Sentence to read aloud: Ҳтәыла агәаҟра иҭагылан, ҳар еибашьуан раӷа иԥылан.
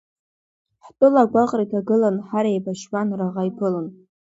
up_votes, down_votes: 2, 1